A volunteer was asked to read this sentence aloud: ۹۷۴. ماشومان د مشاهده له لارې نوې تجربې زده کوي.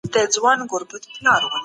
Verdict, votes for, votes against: rejected, 0, 2